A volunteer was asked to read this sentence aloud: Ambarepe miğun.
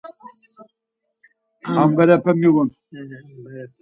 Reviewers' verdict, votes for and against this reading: rejected, 2, 4